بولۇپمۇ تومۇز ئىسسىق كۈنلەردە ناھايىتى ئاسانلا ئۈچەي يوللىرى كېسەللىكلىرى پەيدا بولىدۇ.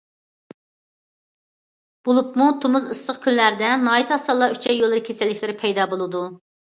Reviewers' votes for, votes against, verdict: 2, 0, accepted